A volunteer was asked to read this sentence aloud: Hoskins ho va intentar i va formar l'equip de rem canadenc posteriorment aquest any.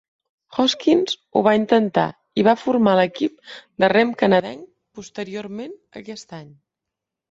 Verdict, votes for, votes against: rejected, 1, 2